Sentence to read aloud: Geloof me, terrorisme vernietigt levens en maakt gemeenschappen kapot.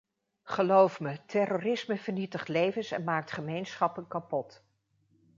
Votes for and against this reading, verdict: 2, 0, accepted